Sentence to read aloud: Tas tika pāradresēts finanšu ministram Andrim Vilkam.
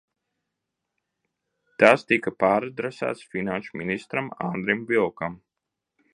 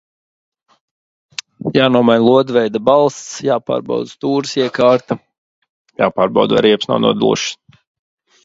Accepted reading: first